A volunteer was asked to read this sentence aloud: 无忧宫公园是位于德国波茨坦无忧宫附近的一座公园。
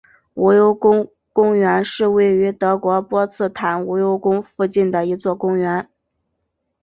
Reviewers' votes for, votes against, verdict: 4, 0, accepted